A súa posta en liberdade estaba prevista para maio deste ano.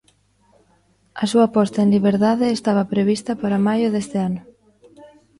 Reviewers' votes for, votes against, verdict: 1, 2, rejected